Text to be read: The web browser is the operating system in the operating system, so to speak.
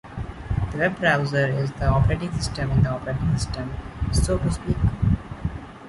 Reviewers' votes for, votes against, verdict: 2, 0, accepted